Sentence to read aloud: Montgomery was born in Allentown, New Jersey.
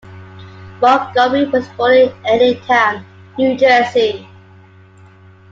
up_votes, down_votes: 0, 2